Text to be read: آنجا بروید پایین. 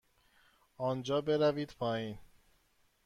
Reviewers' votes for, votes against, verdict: 2, 0, accepted